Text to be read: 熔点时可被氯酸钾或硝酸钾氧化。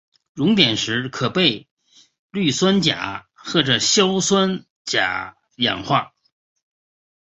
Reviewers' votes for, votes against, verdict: 4, 0, accepted